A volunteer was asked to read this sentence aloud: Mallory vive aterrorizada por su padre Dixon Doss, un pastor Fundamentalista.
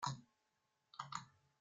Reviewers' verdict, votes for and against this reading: rejected, 0, 2